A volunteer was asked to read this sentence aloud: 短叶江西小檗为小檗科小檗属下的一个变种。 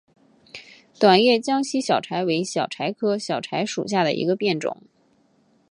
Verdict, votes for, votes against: accepted, 2, 1